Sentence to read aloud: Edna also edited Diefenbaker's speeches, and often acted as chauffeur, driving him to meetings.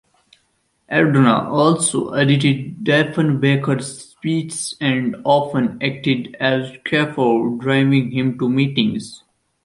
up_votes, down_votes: 0, 2